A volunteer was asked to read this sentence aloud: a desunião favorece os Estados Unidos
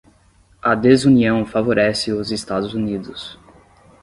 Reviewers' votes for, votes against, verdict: 5, 0, accepted